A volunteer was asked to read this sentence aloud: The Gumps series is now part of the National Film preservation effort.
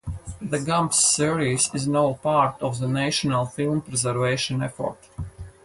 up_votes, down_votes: 4, 0